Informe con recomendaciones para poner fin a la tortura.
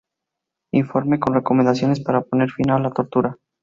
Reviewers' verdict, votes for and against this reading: rejected, 0, 2